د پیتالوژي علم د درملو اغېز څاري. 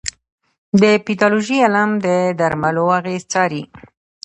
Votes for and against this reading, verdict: 1, 2, rejected